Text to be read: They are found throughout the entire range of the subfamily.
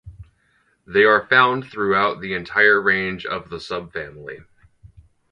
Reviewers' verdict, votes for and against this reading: accepted, 4, 0